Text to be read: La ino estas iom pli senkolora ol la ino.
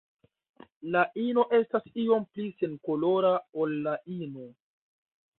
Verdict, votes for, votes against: rejected, 0, 2